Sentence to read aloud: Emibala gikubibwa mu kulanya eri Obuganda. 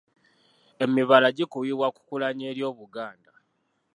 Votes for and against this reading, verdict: 2, 1, accepted